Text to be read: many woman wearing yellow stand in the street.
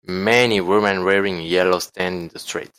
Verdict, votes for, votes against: accepted, 2, 0